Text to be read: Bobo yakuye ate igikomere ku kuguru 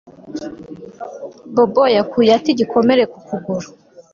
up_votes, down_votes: 3, 0